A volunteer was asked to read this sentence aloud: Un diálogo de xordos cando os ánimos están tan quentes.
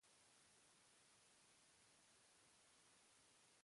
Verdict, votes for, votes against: rejected, 0, 2